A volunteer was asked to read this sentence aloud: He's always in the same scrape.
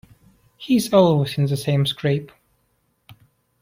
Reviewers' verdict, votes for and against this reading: accepted, 2, 0